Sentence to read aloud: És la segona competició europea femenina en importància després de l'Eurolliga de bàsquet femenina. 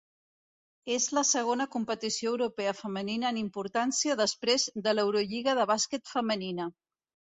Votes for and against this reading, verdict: 2, 0, accepted